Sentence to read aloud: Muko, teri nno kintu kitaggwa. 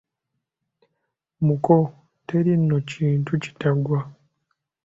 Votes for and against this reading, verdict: 3, 0, accepted